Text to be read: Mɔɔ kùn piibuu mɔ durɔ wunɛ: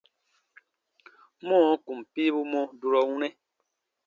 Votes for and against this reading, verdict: 2, 0, accepted